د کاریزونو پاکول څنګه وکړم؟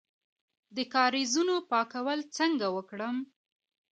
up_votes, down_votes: 1, 2